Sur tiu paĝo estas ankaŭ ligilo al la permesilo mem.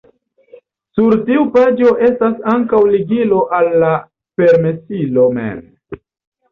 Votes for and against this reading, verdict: 3, 0, accepted